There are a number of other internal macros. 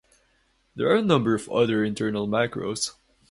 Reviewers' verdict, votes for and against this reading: accepted, 2, 0